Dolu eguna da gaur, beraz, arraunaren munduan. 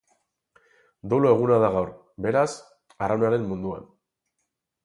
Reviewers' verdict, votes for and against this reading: accepted, 4, 0